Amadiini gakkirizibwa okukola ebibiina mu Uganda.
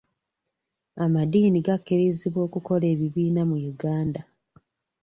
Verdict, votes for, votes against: accepted, 3, 0